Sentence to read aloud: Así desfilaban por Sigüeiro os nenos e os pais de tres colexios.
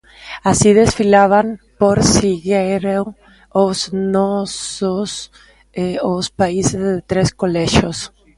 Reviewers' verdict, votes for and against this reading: rejected, 0, 2